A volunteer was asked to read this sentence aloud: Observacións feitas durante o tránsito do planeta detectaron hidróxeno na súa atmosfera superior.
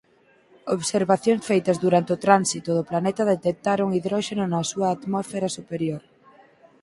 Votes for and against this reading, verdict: 2, 4, rejected